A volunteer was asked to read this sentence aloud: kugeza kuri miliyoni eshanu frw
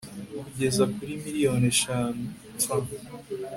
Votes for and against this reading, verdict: 2, 0, accepted